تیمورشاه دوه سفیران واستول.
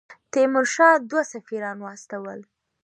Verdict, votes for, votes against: accepted, 3, 0